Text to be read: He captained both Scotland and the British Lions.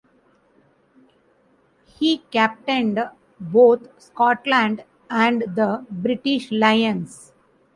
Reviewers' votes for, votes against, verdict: 1, 2, rejected